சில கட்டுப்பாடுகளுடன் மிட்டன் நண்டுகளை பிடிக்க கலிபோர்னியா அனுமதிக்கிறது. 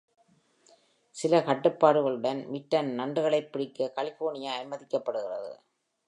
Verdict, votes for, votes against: rejected, 1, 2